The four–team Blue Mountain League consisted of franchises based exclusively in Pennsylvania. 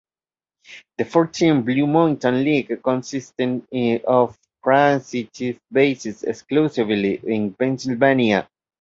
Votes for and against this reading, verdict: 2, 0, accepted